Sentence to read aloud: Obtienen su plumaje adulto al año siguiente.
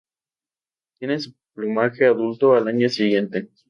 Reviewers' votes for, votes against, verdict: 0, 2, rejected